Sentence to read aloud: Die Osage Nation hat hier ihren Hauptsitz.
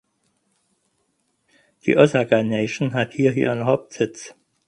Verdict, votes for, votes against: rejected, 2, 4